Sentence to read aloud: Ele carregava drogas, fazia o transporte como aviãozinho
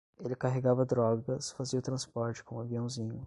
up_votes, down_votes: 5, 5